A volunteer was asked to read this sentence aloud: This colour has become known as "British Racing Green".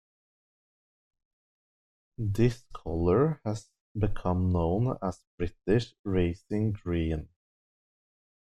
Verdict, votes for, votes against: accepted, 2, 1